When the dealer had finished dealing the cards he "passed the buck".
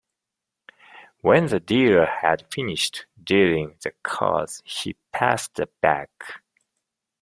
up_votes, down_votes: 1, 2